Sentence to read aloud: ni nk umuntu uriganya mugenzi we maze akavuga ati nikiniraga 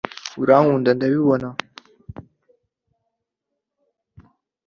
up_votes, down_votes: 0, 2